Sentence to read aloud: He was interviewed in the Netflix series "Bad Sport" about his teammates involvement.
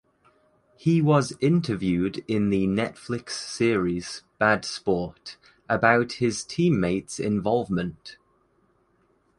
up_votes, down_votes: 2, 0